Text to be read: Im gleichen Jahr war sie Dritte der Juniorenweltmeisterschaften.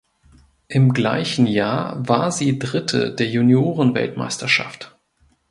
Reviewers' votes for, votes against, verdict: 1, 2, rejected